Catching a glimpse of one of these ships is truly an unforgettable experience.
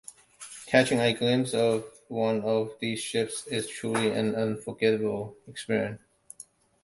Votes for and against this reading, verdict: 2, 0, accepted